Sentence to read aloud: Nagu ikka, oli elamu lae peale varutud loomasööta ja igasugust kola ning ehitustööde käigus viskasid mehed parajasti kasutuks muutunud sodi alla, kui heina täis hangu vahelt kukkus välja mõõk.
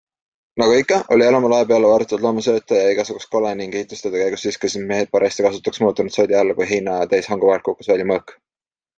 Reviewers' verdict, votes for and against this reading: rejected, 1, 2